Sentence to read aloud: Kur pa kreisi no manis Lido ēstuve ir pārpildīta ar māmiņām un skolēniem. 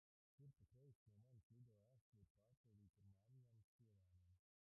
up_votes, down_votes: 0, 2